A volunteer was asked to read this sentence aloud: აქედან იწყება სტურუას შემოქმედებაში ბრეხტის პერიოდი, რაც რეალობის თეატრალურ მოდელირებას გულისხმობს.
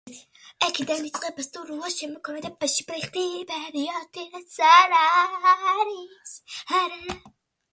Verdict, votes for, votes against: rejected, 0, 2